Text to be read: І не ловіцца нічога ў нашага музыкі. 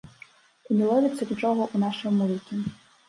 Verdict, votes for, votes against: rejected, 0, 2